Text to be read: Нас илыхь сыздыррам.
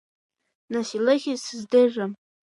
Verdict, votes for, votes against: accepted, 2, 0